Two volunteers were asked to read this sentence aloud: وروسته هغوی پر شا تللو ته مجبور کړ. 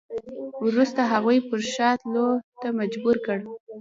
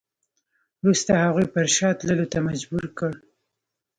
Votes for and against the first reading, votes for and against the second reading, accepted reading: 0, 2, 2, 1, second